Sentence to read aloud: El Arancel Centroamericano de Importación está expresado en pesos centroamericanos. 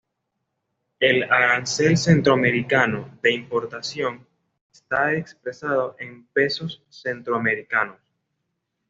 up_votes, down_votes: 2, 0